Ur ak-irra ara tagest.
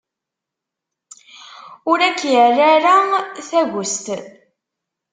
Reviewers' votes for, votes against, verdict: 2, 0, accepted